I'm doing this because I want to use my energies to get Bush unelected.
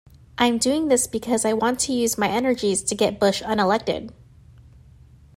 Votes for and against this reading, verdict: 2, 0, accepted